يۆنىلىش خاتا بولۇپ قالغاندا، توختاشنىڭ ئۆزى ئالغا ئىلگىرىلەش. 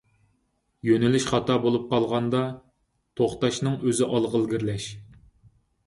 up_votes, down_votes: 4, 0